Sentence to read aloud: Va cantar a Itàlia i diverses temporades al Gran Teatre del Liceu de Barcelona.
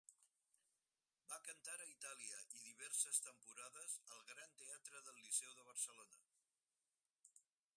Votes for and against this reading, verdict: 2, 4, rejected